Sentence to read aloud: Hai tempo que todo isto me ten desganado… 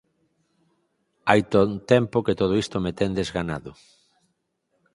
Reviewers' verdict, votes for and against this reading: rejected, 0, 4